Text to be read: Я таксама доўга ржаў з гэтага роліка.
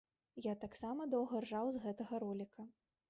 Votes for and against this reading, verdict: 0, 2, rejected